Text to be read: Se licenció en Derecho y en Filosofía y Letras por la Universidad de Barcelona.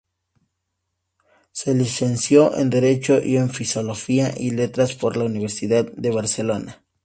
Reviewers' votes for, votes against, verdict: 2, 2, rejected